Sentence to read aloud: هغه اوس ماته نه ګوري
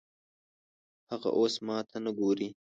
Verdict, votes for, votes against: accepted, 2, 0